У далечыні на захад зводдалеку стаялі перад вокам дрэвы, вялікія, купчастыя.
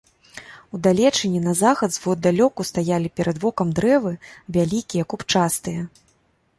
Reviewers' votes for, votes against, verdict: 1, 2, rejected